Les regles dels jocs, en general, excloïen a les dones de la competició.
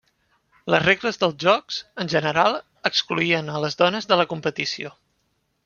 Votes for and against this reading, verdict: 0, 2, rejected